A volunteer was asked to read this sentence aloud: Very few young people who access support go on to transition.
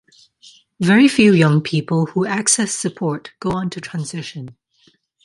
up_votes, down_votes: 2, 0